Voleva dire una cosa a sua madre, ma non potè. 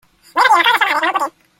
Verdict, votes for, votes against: rejected, 0, 2